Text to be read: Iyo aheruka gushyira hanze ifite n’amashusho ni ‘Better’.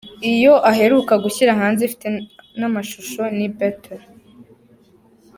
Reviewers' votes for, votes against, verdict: 2, 0, accepted